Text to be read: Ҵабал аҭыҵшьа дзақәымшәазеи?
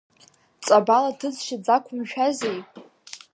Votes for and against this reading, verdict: 2, 0, accepted